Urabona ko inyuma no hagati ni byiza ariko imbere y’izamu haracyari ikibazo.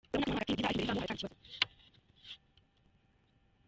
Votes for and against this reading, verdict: 0, 2, rejected